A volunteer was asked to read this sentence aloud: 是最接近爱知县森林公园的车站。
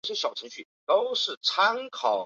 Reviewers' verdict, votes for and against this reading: rejected, 0, 3